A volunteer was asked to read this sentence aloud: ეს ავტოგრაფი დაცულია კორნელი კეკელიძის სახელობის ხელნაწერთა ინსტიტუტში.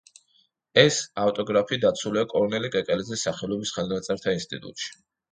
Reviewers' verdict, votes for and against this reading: accepted, 2, 0